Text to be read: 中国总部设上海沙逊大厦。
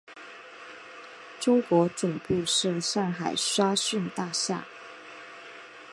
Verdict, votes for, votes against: accepted, 6, 0